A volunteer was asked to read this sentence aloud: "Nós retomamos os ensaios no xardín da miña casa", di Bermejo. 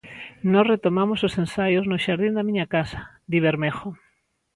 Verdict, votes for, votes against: accepted, 2, 0